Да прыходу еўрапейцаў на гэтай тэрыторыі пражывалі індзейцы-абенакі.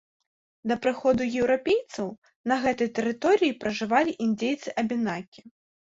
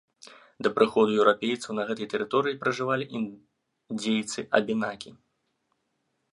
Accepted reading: first